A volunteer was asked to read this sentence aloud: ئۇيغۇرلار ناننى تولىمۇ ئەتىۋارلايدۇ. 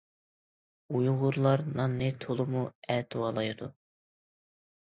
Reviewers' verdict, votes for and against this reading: accepted, 2, 0